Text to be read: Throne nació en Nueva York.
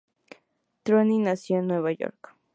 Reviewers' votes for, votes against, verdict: 2, 0, accepted